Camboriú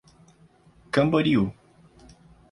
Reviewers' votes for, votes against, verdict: 2, 0, accepted